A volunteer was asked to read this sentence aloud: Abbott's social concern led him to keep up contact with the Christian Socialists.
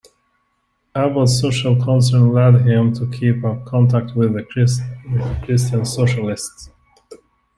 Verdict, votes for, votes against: rejected, 0, 2